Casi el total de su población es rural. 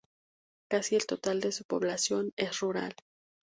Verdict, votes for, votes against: accepted, 2, 0